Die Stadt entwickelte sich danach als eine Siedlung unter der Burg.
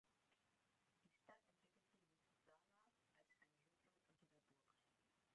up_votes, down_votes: 1, 2